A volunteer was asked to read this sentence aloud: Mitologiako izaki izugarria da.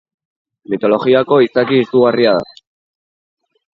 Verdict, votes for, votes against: rejected, 0, 2